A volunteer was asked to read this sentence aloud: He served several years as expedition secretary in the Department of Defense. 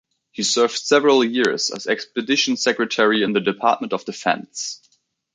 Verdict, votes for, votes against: accepted, 2, 0